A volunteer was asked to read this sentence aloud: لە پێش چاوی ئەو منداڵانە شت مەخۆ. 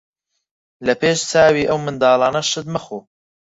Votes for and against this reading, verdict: 4, 2, accepted